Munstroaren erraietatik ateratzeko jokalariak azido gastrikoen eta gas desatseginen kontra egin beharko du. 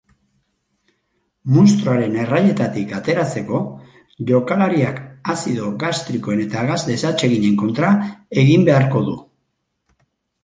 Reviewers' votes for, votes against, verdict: 2, 0, accepted